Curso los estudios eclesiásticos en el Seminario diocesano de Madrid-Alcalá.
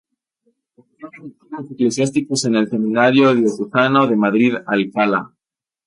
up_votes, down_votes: 0, 2